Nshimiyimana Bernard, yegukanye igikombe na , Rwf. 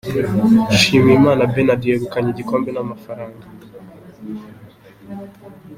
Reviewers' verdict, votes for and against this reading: accepted, 2, 0